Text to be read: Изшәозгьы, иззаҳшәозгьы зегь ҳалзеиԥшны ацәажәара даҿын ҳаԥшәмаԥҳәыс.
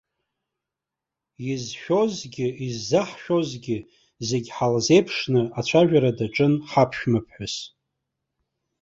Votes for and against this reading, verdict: 0, 2, rejected